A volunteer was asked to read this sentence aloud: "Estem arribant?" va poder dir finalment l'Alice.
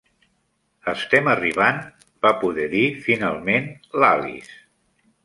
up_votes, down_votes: 3, 0